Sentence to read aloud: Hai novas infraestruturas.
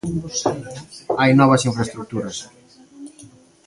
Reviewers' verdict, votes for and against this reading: accepted, 2, 0